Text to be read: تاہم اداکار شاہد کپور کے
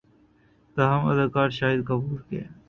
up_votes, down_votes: 0, 2